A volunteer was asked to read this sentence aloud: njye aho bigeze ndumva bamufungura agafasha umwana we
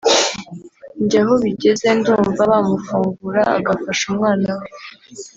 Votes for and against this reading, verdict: 2, 1, accepted